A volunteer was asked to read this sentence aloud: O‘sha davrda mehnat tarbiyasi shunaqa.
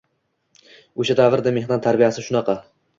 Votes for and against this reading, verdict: 2, 0, accepted